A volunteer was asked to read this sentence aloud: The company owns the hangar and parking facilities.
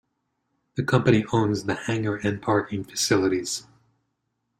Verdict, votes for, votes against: accepted, 2, 0